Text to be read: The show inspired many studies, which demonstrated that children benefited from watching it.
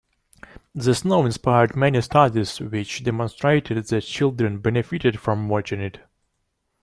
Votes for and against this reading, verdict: 1, 2, rejected